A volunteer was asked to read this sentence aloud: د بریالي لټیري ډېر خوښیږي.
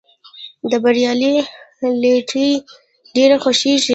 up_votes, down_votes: 1, 2